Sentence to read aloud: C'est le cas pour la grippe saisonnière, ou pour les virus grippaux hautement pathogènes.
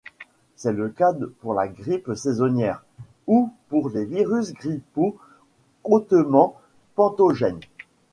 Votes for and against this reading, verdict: 0, 2, rejected